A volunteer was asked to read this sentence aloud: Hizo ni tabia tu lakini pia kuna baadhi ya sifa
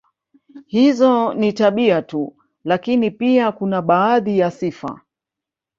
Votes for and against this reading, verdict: 1, 2, rejected